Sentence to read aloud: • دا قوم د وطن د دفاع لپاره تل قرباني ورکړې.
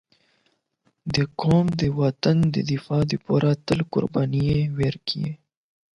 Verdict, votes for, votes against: accepted, 8, 0